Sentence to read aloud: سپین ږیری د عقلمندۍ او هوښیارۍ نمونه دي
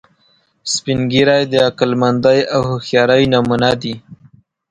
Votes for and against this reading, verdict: 2, 1, accepted